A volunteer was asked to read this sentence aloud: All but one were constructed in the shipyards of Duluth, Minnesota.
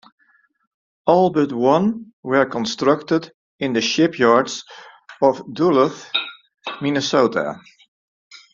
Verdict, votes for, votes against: rejected, 0, 2